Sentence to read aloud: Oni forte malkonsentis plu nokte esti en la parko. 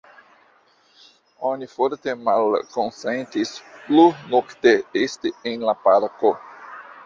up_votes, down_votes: 2, 1